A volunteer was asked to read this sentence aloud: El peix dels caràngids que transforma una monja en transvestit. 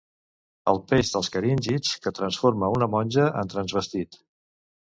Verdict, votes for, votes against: rejected, 0, 2